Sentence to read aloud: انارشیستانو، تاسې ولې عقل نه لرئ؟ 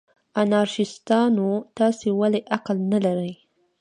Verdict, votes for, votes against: accepted, 2, 0